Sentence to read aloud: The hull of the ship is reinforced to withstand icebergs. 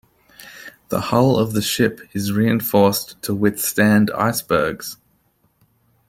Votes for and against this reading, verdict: 2, 0, accepted